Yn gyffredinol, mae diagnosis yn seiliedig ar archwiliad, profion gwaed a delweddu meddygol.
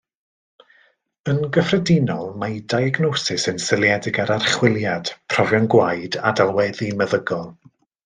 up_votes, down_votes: 2, 0